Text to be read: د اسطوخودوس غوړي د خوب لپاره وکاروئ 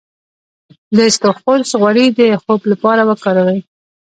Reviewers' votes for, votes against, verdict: 2, 0, accepted